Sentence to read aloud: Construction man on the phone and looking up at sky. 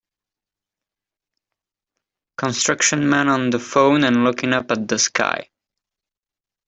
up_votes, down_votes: 0, 2